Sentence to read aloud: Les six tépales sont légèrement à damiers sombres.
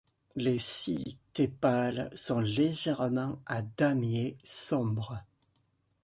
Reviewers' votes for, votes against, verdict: 1, 2, rejected